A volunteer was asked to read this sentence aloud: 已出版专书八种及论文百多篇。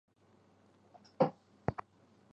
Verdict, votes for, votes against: rejected, 1, 2